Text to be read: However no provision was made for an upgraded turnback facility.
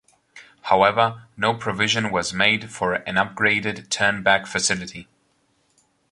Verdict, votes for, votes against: accepted, 2, 0